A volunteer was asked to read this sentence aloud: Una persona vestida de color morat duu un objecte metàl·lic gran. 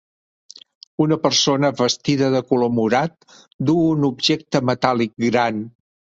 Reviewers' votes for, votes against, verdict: 3, 0, accepted